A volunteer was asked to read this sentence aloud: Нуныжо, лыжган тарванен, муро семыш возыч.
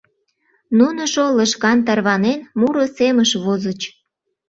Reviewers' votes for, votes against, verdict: 2, 0, accepted